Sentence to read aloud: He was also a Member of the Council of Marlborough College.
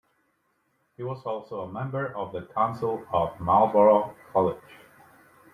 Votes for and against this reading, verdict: 2, 0, accepted